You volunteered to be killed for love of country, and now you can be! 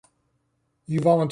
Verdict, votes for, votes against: rejected, 0, 2